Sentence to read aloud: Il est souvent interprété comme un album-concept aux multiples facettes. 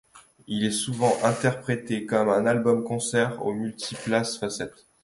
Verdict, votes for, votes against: rejected, 0, 2